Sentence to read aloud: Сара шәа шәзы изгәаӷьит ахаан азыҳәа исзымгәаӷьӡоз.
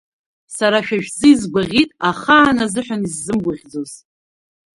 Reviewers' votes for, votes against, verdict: 0, 2, rejected